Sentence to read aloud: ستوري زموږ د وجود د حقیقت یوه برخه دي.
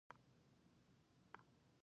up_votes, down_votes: 0, 2